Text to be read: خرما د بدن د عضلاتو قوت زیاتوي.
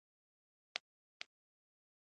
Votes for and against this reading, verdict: 1, 2, rejected